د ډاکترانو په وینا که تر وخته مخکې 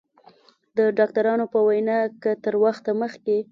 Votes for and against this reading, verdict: 2, 0, accepted